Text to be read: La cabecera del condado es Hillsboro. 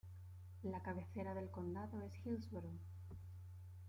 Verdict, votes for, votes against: accepted, 2, 0